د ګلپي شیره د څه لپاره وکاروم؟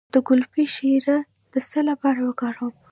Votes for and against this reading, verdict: 1, 2, rejected